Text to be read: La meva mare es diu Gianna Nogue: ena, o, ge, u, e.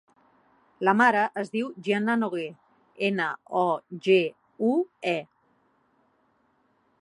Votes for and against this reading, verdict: 1, 2, rejected